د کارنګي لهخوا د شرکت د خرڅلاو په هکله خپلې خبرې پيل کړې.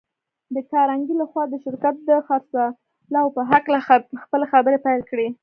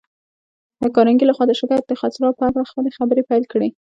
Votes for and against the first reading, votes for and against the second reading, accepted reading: 0, 2, 2, 1, second